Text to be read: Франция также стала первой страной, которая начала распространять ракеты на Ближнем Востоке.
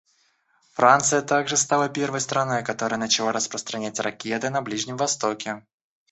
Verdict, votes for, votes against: rejected, 1, 2